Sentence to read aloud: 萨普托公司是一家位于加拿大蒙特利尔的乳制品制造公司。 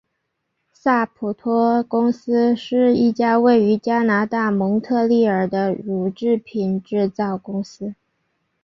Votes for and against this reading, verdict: 4, 0, accepted